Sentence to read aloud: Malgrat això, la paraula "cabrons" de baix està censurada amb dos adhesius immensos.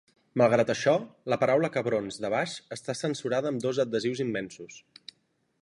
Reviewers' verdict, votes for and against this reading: accepted, 3, 0